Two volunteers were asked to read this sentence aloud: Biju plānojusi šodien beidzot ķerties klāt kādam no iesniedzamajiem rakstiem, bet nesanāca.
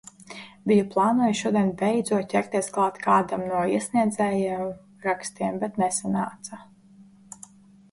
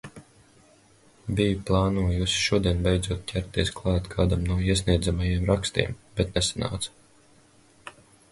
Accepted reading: second